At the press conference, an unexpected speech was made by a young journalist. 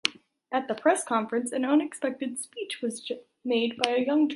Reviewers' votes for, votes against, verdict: 0, 3, rejected